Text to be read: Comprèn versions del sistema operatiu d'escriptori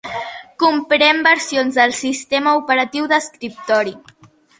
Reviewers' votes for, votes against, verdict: 3, 0, accepted